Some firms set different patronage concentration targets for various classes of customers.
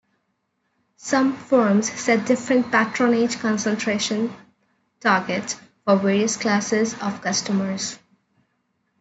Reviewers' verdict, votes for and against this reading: accepted, 2, 1